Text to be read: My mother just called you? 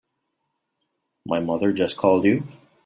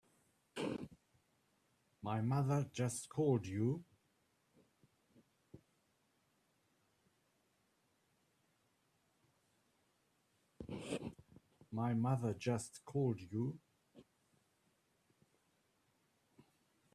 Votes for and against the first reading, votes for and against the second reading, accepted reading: 2, 0, 1, 2, first